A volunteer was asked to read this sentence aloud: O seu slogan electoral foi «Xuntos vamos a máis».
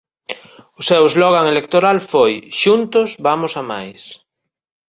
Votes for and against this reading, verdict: 2, 1, accepted